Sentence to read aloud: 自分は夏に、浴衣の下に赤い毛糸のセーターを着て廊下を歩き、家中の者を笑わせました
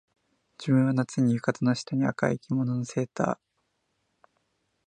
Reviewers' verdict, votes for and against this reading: rejected, 1, 2